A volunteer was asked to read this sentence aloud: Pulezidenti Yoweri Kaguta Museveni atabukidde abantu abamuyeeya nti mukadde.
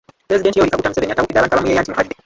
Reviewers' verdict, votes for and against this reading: rejected, 0, 2